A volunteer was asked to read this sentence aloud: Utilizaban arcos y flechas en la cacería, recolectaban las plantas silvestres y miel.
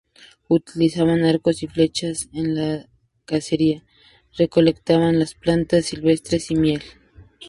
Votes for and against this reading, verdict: 0, 2, rejected